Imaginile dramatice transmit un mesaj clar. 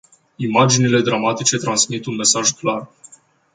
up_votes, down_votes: 2, 0